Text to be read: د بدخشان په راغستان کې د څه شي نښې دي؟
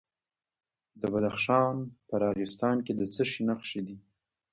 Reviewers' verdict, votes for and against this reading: accepted, 2, 0